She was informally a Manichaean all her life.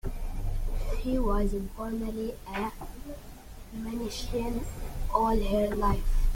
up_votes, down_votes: 2, 0